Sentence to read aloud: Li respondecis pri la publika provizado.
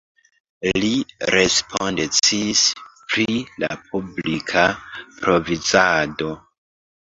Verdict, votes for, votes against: rejected, 0, 2